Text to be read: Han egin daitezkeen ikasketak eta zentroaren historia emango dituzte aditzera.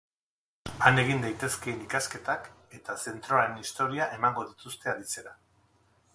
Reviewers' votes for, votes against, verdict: 2, 2, rejected